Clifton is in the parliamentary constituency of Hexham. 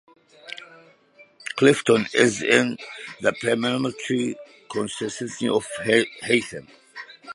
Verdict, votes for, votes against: rejected, 0, 2